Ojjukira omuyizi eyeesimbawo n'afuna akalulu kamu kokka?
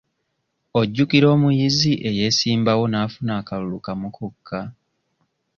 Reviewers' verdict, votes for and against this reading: accepted, 2, 1